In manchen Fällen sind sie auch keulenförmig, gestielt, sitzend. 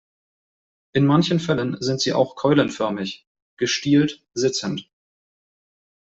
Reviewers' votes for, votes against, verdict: 2, 0, accepted